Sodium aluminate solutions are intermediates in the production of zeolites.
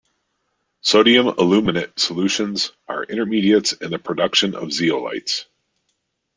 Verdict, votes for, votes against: accepted, 2, 0